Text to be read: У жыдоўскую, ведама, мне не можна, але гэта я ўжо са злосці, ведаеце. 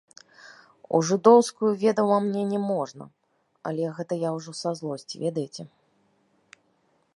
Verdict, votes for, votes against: accepted, 2, 0